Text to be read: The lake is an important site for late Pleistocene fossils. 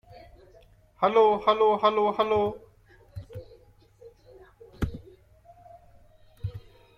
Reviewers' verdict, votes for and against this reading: rejected, 0, 2